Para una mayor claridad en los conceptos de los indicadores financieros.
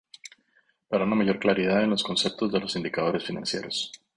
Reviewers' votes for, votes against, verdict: 2, 0, accepted